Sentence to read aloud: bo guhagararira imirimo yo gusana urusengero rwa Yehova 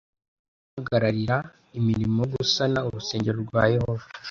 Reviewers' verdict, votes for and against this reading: rejected, 0, 2